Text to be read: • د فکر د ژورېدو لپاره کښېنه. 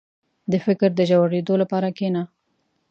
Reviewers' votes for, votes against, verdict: 2, 0, accepted